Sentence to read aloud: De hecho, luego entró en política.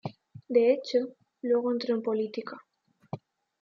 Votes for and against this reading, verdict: 0, 2, rejected